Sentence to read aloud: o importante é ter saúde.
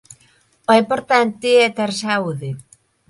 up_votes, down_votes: 7, 1